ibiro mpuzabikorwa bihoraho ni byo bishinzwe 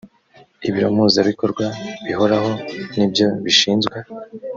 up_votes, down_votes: 2, 0